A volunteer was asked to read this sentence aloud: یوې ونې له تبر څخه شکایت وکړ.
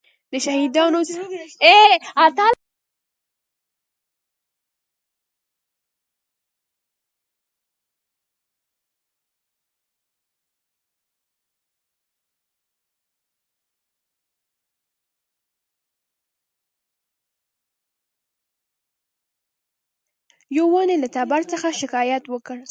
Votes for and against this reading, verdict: 1, 2, rejected